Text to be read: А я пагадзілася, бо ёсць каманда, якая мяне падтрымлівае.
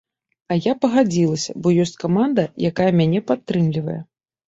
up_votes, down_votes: 2, 0